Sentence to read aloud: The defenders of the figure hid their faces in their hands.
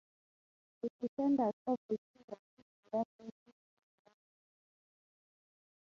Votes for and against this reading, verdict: 0, 6, rejected